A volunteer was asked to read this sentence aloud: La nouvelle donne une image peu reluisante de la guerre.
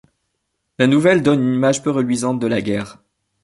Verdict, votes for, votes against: accepted, 2, 0